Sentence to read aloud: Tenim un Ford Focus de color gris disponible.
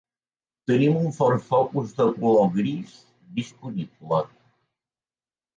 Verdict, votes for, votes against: accepted, 3, 0